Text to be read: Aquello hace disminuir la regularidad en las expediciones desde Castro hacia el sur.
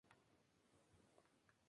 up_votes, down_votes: 0, 2